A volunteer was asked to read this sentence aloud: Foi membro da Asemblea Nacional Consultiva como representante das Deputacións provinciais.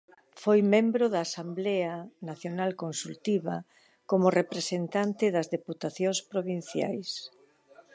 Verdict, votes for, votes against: accepted, 3, 0